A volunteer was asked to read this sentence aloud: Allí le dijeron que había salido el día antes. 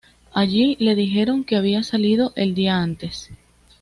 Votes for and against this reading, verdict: 2, 0, accepted